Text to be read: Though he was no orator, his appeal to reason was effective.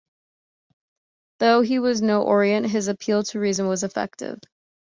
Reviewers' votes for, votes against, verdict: 1, 2, rejected